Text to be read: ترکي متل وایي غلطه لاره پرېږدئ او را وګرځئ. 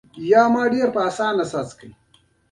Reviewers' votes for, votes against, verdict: 3, 2, accepted